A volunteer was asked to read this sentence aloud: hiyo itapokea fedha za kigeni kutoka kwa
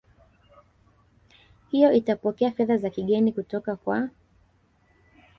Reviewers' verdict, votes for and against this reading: accepted, 3, 1